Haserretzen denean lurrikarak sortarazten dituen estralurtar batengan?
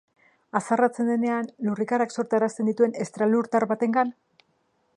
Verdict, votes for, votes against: rejected, 0, 2